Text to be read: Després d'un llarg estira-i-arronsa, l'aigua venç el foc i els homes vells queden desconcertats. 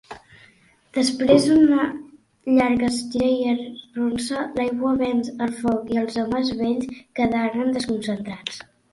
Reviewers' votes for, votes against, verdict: 0, 2, rejected